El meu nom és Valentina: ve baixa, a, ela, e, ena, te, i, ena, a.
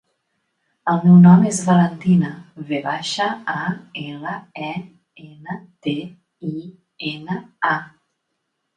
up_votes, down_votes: 3, 0